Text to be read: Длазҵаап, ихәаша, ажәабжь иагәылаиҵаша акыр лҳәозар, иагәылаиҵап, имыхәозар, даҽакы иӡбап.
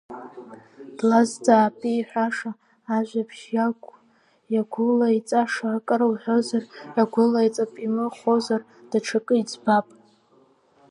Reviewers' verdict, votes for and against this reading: rejected, 0, 2